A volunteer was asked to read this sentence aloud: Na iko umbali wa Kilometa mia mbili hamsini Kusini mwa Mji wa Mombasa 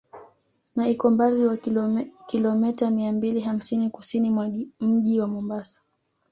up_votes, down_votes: 1, 2